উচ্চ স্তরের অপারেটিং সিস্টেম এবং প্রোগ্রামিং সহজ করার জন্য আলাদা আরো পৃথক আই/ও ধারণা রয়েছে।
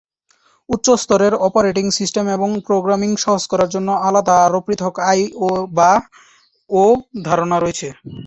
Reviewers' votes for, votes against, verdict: 0, 2, rejected